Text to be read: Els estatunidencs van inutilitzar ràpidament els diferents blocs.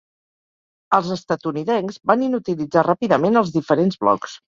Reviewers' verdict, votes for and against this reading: accepted, 4, 0